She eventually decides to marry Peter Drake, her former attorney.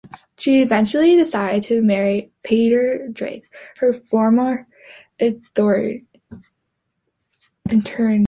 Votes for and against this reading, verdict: 0, 2, rejected